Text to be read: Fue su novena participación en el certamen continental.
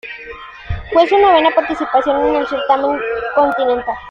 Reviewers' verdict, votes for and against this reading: accepted, 2, 0